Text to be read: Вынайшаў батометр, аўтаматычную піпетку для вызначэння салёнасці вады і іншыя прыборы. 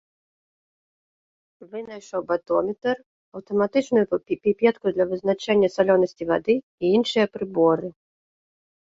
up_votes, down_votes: 1, 2